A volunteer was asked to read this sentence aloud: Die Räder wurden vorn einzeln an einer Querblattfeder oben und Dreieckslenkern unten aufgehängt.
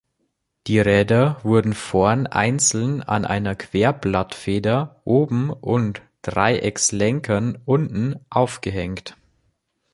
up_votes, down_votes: 3, 0